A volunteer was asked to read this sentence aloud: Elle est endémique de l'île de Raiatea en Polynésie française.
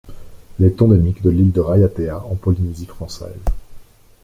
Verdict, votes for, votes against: rejected, 0, 2